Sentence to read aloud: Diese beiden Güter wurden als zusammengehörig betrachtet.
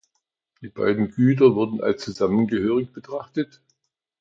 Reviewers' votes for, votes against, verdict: 0, 2, rejected